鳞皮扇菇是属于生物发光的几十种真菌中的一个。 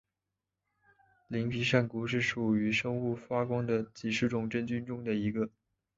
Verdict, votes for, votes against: accepted, 2, 0